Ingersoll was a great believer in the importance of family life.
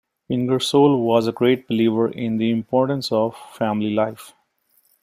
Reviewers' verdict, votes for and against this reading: accepted, 2, 0